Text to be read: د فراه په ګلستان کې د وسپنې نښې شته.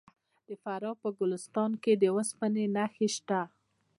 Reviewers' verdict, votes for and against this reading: accepted, 2, 0